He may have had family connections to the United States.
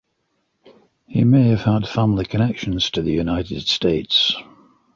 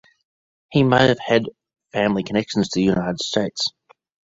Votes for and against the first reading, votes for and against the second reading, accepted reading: 2, 0, 1, 3, first